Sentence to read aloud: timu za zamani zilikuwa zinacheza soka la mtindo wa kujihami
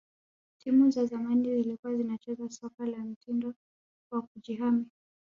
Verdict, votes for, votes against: accepted, 2, 0